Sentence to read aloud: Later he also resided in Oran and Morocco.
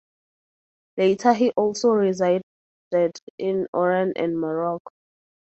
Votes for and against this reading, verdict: 2, 2, rejected